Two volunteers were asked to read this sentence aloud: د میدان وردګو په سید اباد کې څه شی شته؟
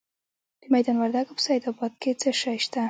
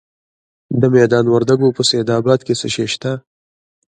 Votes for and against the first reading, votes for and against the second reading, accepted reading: 0, 2, 2, 1, second